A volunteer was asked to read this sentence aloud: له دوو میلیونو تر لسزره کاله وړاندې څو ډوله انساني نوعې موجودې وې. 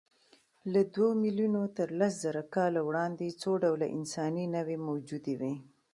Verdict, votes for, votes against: accepted, 2, 0